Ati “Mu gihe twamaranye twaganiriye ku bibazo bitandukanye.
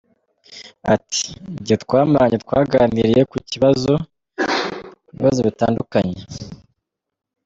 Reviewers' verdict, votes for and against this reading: rejected, 1, 2